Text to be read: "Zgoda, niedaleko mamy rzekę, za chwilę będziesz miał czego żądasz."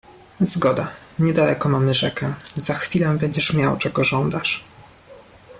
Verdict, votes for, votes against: accepted, 2, 0